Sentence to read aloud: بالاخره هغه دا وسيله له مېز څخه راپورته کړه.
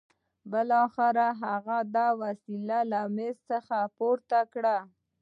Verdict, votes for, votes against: rejected, 2, 3